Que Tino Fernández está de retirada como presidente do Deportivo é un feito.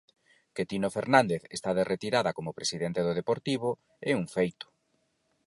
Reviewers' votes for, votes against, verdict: 4, 0, accepted